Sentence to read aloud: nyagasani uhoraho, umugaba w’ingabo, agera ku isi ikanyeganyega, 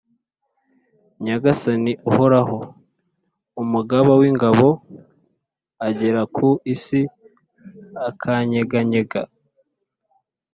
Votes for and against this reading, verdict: 1, 2, rejected